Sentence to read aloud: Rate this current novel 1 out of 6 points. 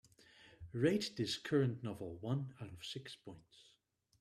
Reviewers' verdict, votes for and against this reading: rejected, 0, 2